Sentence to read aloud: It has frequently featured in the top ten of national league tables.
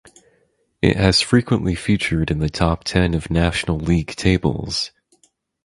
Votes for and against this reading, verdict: 4, 0, accepted